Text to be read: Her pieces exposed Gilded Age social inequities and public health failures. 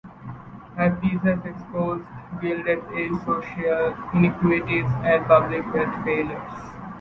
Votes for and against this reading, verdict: 2, 0, accepted